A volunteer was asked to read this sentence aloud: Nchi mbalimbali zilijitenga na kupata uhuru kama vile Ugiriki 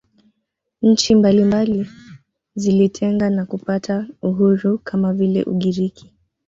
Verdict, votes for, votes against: rejected, 1, 2